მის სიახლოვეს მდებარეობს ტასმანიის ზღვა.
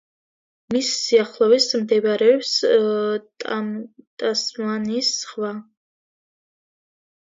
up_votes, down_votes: 1, 2